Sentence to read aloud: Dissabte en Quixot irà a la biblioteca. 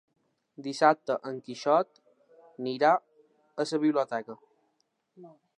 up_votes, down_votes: 1, 2